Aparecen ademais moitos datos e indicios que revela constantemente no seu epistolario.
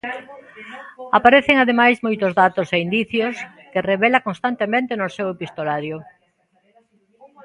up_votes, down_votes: 0, 2